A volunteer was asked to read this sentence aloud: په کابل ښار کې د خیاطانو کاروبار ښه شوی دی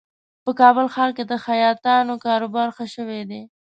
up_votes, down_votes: 2, 0